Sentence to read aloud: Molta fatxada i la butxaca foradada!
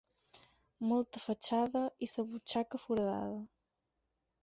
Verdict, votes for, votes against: rejected, 0, 4